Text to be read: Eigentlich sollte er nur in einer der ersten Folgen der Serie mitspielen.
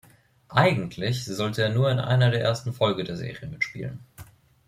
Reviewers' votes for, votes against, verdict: 2, 0, accepted